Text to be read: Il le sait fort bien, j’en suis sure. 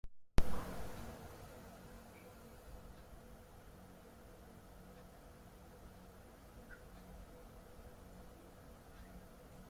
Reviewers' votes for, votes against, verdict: 0, 2, rejected